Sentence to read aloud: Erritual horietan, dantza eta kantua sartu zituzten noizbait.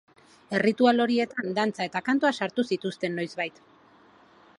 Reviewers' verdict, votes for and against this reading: accepted, 2, 0